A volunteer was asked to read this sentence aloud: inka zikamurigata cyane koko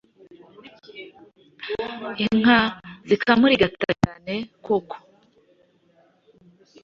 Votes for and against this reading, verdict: 2, 0, accepted